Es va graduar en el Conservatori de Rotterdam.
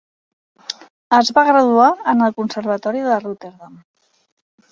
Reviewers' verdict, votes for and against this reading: accepted, 3, 0